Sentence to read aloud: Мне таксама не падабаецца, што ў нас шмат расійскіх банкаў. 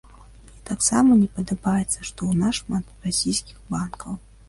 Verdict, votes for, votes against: rejected, 0, 2